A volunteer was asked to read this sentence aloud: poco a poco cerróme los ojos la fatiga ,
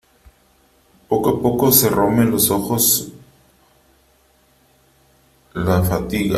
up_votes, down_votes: 1, 2